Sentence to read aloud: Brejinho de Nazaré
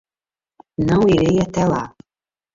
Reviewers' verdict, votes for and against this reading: rejected, 0, 2